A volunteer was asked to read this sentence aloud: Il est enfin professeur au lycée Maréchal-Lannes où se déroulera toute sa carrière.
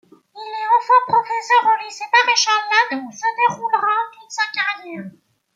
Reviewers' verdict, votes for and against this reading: rejected, 0, 2